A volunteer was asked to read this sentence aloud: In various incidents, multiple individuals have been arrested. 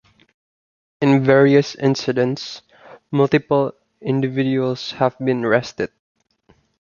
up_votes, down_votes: 2, 1